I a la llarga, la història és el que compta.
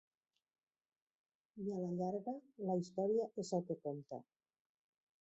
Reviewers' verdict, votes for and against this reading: rejected, 1, 2